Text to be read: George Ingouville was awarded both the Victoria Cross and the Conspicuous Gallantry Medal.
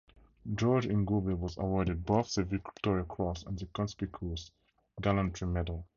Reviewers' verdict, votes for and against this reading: rejected, 0, 2